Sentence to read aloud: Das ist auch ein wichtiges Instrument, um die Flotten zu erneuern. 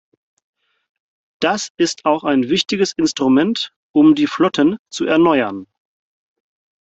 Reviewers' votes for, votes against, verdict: 4, 0, accepted